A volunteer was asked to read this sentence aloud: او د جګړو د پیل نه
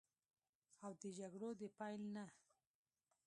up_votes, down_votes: 1, 2